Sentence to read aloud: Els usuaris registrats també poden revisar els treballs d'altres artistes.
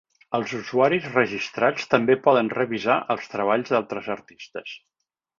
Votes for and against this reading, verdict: 3, 0, accepted